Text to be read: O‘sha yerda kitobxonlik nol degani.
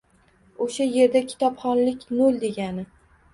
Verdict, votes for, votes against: accepted, 2, 0